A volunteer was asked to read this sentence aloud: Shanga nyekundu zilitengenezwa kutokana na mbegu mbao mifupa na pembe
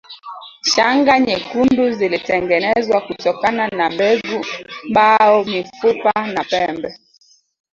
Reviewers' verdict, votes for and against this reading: rejected, 1, 2